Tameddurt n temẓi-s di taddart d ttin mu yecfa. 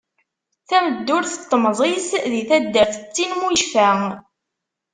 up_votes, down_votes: 2, 0